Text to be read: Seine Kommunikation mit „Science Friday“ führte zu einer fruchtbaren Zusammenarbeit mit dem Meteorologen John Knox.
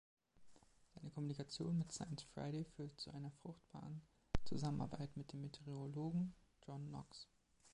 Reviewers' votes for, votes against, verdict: 2, 0, accepted